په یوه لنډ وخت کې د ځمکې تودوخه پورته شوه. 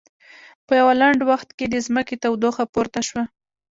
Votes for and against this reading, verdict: 2, 0, accepted